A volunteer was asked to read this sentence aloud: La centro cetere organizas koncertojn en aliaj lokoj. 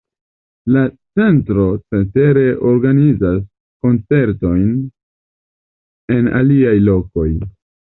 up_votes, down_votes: 2, 1